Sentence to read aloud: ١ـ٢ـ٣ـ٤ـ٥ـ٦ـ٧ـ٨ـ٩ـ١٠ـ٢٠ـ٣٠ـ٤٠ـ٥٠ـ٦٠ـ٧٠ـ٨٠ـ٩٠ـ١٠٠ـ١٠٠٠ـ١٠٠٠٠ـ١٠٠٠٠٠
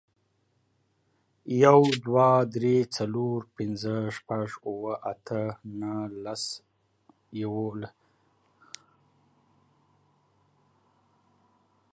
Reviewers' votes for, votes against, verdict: 0, 2, rejected